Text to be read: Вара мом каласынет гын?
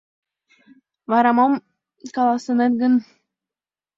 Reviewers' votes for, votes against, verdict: 2, 0, accepted